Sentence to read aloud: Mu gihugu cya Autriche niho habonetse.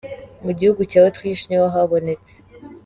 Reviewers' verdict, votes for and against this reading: accepted, 2, 0